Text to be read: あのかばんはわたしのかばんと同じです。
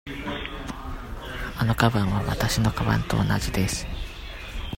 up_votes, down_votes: 2, 0